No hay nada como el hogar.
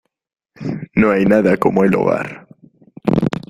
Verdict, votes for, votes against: accepted, 2, 0